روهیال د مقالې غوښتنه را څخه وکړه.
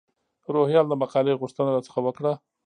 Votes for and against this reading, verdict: 1, 2, rejected